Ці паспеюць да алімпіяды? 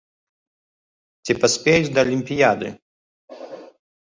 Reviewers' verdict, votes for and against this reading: accepted, 2, 0